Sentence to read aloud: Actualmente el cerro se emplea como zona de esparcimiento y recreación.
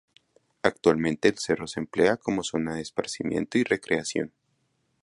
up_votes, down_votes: 2, 0